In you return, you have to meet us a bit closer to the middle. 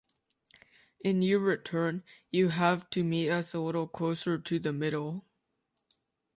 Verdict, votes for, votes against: rejected, 0, 2